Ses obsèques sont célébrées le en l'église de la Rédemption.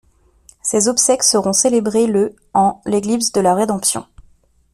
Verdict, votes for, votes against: rejected, 1, 2